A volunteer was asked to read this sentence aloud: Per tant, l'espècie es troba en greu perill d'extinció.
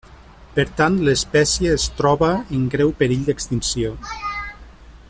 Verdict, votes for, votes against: rejected, 0, 2